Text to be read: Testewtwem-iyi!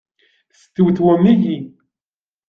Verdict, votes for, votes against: rejected, 1, 2